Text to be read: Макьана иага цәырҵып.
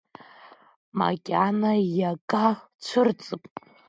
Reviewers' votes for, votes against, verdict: 0, 2, rejected